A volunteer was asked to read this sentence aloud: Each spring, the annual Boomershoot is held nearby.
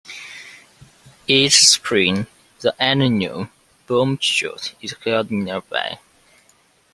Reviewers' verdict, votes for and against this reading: rejected, 0, 2